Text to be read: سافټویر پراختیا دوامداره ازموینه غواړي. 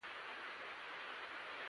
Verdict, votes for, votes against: rejected, 0, 2